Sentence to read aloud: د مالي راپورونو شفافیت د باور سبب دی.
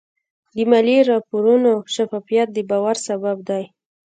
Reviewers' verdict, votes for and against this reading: rejected, 1, 2